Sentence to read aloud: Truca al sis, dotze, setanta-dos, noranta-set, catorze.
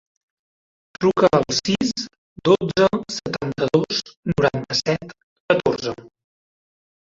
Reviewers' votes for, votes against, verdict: 1, 2, rejected